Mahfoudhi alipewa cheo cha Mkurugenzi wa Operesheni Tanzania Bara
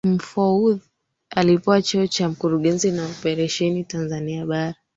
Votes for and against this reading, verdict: 2, 1, accepted